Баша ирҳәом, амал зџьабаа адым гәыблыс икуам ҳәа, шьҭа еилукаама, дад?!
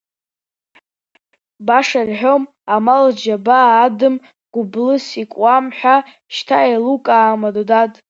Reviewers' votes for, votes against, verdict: 2, 0, accepted